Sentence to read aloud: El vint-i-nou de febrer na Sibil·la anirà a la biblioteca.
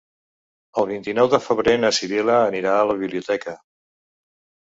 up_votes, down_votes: 2, 0